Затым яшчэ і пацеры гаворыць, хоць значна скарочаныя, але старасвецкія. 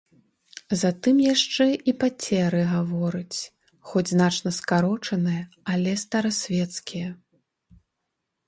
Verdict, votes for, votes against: rejected, 1, 2